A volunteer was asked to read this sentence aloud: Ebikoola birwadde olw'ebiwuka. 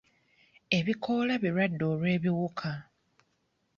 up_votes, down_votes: 2, 0